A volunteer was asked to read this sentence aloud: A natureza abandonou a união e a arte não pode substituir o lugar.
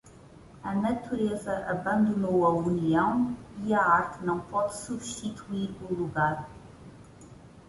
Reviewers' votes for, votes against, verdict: 1, 2, rejected